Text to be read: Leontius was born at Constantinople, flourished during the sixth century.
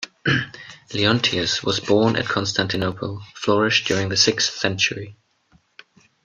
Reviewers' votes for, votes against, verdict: 1, 2, rejected